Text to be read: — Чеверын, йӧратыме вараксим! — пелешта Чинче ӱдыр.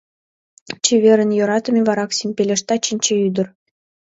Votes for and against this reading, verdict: 2, 0, accepted